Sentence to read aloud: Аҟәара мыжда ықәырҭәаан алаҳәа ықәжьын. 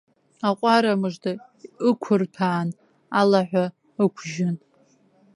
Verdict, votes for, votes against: rejected, 1, 2